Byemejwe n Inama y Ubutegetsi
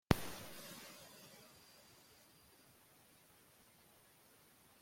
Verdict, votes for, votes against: rejected, 0, 2